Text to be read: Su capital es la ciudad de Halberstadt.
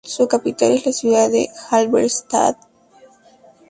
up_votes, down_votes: 2, 0